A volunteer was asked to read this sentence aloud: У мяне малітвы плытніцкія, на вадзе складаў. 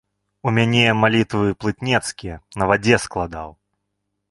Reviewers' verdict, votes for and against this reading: rejected, 0, 2